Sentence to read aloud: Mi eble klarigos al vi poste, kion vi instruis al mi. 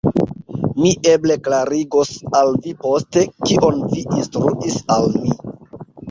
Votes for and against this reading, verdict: 2, 0, accepted